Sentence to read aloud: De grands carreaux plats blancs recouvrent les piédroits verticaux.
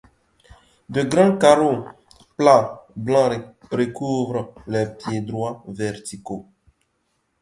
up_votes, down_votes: 0, 2